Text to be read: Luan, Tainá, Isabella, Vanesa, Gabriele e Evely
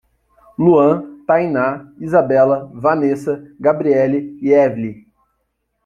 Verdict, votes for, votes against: accepted, 2, 0